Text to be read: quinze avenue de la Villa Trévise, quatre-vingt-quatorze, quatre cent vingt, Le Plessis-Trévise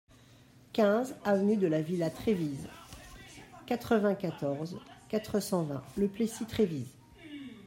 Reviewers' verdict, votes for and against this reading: accepted, 2, 1